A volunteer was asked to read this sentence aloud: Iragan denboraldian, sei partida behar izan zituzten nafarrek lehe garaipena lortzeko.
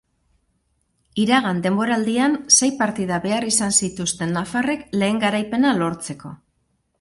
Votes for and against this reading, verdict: 4, 0, accepted